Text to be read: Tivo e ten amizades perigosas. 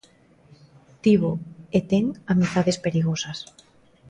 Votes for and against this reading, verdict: 2, 0, accepted